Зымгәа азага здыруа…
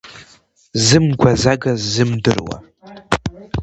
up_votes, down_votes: 1, 2